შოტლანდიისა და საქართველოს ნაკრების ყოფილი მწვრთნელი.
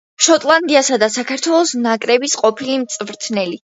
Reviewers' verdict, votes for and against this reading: accepted, 2, 0